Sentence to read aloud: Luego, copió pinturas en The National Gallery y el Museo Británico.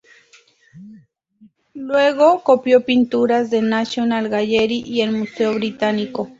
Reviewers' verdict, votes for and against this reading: rejected, 0, 2